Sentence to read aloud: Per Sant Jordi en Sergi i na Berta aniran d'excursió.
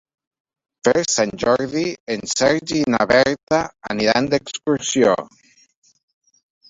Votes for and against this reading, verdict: 1, 2, rejected